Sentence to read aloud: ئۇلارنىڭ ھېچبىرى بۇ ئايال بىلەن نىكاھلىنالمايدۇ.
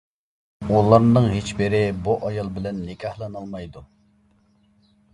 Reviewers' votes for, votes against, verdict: 1, 2, rejected